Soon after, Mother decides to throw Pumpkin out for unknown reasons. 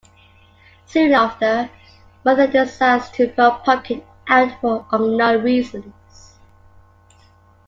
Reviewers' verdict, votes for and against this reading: accepted, 2, 1